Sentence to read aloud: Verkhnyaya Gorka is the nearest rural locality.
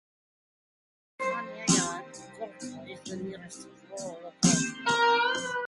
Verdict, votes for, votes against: rejected, 0, 2